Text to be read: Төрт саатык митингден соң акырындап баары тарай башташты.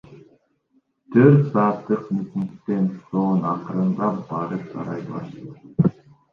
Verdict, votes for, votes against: rejected, 0, 2